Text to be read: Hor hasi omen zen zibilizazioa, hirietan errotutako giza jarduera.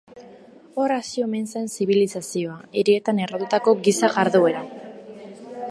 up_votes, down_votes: 1, 2